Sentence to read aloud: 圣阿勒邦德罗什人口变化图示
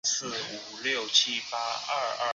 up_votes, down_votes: 0, 4